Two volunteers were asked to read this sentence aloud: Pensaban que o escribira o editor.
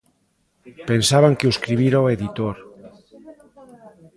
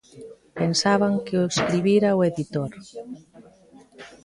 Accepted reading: second